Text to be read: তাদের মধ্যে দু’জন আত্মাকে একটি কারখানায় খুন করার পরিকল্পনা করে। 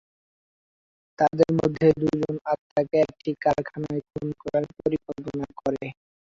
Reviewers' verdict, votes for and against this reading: rejected, 0, 2